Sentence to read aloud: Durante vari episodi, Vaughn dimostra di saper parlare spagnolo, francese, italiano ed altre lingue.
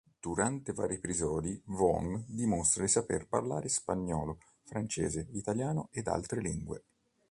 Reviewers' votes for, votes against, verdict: 1, 2, rejected